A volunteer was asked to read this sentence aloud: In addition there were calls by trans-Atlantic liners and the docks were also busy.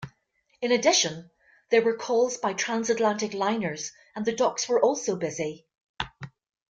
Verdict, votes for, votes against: accepted, 2, 1